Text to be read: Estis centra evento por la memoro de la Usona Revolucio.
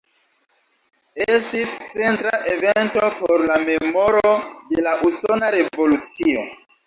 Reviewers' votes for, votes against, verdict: 2, 0, accepted